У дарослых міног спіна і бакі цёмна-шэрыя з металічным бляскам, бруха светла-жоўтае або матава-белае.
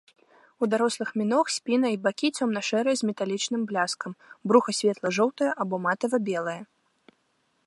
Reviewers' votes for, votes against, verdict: 1, 2, rejected